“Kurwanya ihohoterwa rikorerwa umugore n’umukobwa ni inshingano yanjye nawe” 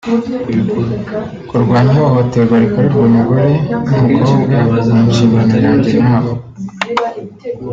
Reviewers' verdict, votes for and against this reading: rejected, 0, 2